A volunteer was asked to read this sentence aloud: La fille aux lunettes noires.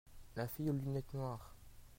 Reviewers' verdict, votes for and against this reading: accepted, 2, 1